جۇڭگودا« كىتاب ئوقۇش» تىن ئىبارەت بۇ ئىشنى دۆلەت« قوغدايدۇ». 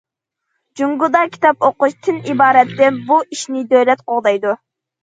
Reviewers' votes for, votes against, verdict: 1, 2, rejected